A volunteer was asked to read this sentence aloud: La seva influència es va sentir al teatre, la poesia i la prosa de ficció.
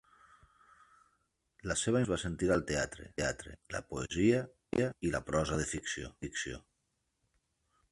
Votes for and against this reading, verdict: 0, 2, rejected